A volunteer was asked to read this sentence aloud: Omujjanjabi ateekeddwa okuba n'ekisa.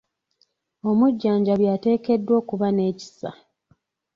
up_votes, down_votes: 2, 0